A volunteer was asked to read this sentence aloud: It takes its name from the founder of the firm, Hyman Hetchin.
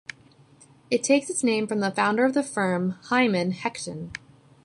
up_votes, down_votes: 2, 0